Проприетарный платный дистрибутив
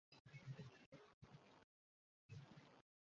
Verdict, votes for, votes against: rejected, 0, 2